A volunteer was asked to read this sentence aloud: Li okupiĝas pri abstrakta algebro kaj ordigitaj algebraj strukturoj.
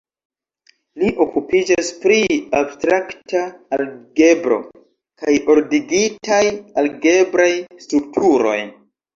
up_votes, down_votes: 2, 0